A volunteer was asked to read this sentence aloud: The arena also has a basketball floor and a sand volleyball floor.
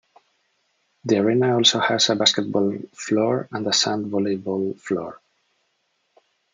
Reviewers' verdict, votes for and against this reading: accepted, 2, 0